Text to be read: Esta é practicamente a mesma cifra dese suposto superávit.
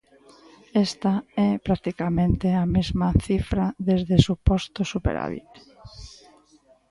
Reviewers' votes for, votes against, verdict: 1, 2, rejected